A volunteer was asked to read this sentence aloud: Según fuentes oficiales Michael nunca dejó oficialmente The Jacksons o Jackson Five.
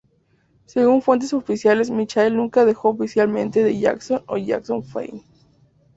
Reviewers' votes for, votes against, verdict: 2, 0, accepted